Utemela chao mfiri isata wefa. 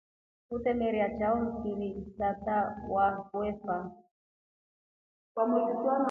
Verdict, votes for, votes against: accepted, 2, 0